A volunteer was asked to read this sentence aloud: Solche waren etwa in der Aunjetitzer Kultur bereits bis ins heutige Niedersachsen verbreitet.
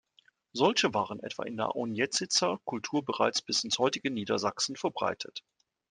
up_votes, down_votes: 2, 0